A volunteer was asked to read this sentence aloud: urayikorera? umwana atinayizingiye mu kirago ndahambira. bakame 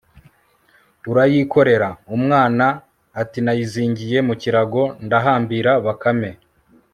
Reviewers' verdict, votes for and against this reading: accepted, 2, 0